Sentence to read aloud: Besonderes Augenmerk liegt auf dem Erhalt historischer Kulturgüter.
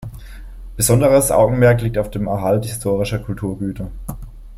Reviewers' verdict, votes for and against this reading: accepted, 2, 0